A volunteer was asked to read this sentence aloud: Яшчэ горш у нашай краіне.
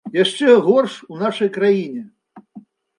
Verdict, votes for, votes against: accepted, 2, 0